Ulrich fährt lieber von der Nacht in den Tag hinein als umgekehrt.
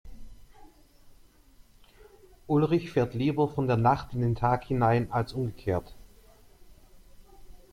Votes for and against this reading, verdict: 2, 0, accepted